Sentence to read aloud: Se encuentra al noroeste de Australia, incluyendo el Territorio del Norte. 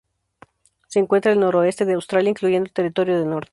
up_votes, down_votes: 0, 2